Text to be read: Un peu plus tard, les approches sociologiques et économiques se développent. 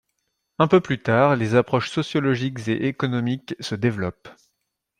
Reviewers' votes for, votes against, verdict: 2, 0, accepted